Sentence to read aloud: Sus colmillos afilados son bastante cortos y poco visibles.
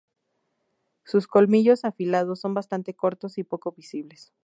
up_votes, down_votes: 6, 0